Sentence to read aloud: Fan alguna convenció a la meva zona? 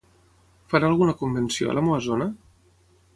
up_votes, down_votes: 0, 3